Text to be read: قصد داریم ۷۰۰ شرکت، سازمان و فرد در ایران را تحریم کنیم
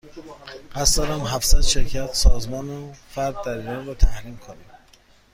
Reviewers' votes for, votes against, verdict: 0, 2, rejected